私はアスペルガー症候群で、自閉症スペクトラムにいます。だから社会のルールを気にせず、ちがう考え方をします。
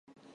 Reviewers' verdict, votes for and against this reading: rejected, 0, 2